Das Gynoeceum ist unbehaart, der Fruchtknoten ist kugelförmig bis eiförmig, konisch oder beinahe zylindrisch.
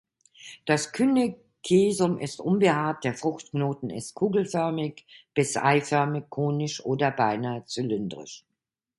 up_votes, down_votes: 0, 2